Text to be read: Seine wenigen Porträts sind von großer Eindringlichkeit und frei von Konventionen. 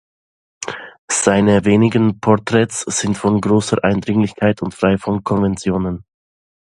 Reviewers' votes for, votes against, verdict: 2, 1, accepted